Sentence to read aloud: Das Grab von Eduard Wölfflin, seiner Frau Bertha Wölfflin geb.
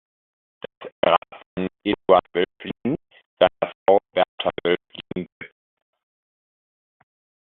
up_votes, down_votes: 0, 2